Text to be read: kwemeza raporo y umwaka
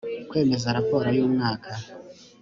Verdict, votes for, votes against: accepted, 3, 0